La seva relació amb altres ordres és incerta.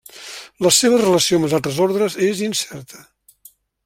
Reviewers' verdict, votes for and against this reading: accepted, 2, 0